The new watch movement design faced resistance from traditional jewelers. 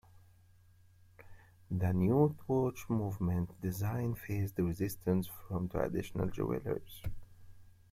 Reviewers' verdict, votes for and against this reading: rejected, 1, 2